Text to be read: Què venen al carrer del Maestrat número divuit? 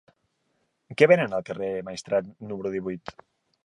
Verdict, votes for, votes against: rejected, 0, 2